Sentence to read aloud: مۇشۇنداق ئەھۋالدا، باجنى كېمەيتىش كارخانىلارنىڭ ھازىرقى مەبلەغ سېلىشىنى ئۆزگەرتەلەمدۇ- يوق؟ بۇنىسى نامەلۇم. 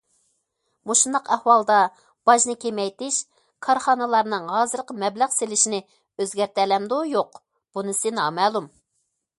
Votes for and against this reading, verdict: 2, 0, accepted